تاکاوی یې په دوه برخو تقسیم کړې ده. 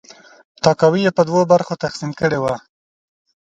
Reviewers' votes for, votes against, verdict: 2, 0, accepted